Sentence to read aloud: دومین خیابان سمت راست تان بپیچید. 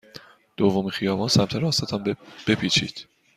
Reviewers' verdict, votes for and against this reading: accepted, 2, 0